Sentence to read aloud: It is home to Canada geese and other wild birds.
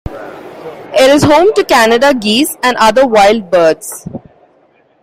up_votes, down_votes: 2, 0